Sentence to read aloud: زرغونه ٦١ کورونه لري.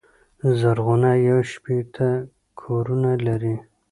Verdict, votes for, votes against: rejected, 0, 2